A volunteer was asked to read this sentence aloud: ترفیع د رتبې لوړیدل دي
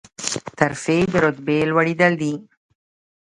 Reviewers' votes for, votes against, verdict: 1, 2, rejected